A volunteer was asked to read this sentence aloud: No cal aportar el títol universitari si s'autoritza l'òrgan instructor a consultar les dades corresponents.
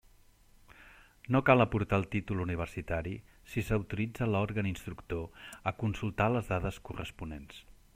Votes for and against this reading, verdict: 3, 0, accepted